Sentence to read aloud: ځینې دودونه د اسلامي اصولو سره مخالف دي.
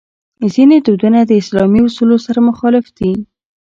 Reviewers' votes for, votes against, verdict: 1, 2, rejected